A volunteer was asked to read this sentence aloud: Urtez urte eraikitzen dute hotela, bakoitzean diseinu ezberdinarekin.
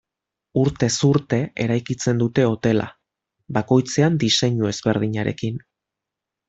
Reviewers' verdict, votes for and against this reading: accepted, 2, 0